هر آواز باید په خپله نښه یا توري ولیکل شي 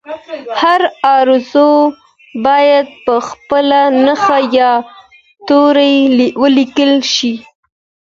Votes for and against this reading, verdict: 2, 0, accepted